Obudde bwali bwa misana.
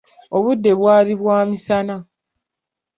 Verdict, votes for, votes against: accepted, 2, 0